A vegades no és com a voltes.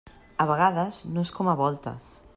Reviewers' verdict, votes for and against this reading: accepted, 3, 0